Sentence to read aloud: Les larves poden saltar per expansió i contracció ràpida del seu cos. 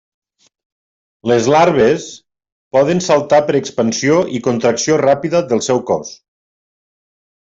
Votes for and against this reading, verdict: 3, 0, accepted